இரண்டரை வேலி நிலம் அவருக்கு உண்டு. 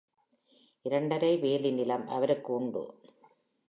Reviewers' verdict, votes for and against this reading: accepted, 3, 0